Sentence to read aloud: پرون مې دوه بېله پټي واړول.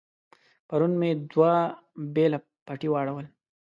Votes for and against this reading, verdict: 2, 0, accepted